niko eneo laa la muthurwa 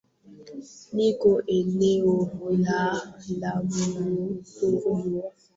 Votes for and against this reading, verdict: 0, 3, rejected